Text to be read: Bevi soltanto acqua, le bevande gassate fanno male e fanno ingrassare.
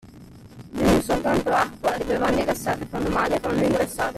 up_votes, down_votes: 0, 2